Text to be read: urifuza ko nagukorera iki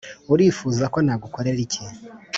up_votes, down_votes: 2, 0